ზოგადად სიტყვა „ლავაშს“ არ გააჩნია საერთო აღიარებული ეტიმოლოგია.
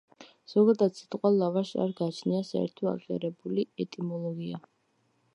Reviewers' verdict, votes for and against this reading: accepted, 2, 0